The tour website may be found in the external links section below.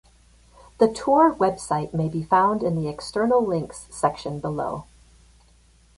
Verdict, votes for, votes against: accepted, 2, 0